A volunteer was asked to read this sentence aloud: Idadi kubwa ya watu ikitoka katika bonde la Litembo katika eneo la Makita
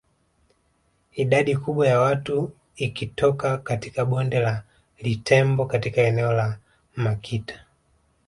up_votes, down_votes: 1, 2